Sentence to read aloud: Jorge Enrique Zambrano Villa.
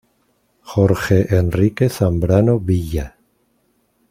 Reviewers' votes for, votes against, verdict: 2, 0, accepted